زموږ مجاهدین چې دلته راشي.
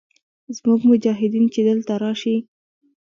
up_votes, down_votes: 2, 1